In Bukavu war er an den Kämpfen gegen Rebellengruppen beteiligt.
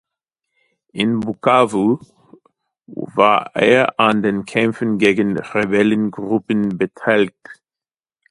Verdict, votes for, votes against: rejected, 1, 2